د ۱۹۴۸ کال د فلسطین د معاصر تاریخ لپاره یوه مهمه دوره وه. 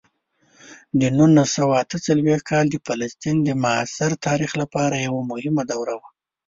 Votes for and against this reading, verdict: 0, 2, rejected